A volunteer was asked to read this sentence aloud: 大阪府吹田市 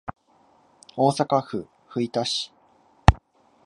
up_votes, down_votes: 0, 2